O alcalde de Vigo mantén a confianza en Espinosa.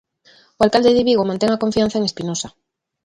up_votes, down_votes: 2, 0